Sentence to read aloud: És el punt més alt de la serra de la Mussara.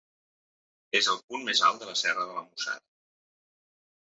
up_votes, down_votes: 2, 0